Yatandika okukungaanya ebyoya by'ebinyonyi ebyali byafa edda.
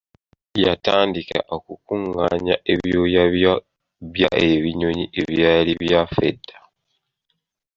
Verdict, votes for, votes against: rejected, 0, 3